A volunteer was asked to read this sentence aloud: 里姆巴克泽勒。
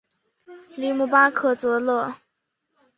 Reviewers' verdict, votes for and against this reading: accepted, 2, 0